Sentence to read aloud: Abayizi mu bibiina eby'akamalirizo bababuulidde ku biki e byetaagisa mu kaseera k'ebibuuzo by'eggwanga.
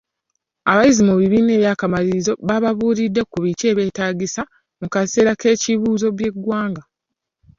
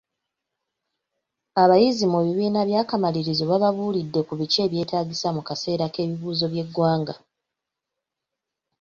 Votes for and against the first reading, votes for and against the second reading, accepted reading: 1, 2, 2, 1, second